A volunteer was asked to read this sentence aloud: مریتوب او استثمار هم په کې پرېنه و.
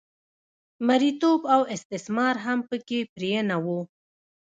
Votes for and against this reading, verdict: 0, 3, rejected